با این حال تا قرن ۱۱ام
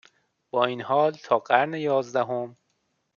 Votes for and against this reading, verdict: 0, 2, rejected